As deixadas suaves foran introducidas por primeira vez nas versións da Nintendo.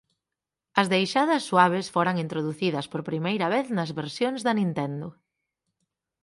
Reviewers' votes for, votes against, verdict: 6, 0, accepted